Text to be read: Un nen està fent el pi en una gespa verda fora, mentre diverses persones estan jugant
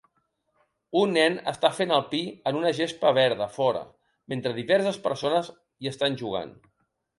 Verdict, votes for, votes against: rejected, 0, 2